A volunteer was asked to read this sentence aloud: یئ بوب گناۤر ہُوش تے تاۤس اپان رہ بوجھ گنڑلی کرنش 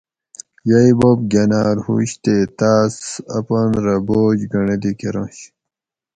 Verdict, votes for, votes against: accepted, 4, 0